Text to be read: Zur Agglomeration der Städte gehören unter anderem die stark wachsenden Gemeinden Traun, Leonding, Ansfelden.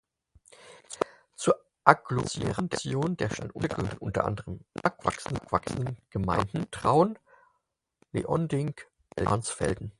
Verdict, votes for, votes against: rejected, 0, 4